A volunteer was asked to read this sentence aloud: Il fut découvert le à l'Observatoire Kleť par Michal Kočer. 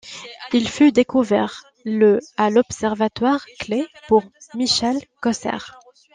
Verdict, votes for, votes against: rejected, 0, 2